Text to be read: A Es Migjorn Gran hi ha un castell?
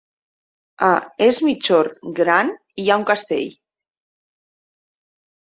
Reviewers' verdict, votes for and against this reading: rejected, 1, 2